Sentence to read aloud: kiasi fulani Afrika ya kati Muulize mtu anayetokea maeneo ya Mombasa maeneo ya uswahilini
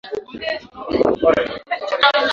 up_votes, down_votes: 0, 2